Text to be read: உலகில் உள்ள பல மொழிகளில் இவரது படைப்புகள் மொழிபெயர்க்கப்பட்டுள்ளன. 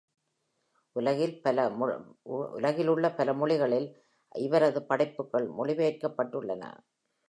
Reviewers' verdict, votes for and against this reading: rejected, 0, 2